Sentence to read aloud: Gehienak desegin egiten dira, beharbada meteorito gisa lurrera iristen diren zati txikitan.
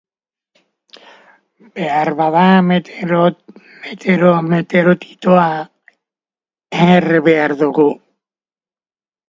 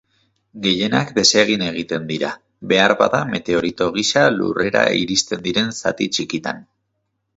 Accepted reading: second